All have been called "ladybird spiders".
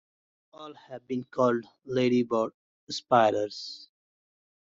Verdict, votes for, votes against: accepted, 2, 0